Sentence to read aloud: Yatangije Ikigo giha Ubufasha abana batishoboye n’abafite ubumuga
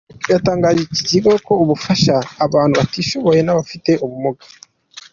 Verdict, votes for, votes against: accepted, 2, 1